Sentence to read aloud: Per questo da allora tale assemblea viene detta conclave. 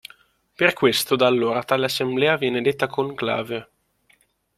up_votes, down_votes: 2, 0